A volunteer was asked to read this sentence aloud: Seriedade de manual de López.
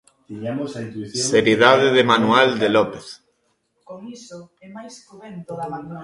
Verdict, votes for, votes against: rejected, 1, 2